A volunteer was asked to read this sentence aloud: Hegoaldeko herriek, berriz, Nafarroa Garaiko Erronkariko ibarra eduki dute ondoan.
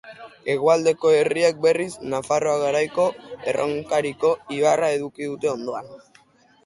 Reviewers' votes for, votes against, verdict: 3, 0, accepted